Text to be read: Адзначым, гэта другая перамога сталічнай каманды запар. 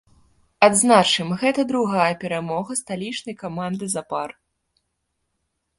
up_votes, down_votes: 2, 0